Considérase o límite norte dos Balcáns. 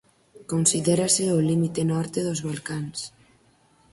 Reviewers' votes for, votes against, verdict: 4, 0, accepted